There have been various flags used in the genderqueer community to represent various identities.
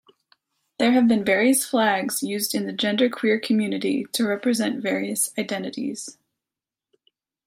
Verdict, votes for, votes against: accepted, 2, 0